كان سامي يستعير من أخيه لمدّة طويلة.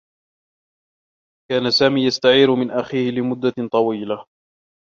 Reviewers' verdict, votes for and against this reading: rejected, 1, 2